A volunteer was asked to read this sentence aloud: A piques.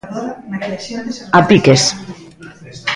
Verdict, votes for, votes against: rejected, 0, 2